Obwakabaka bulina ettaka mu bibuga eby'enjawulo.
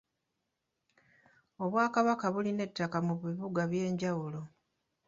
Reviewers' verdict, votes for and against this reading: accepted, 2, 0